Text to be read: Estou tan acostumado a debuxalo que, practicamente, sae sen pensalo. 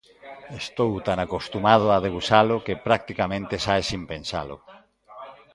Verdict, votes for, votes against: accepted, 2, 0